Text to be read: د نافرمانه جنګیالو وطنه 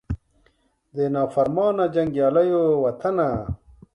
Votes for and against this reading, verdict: 2, 0, accepted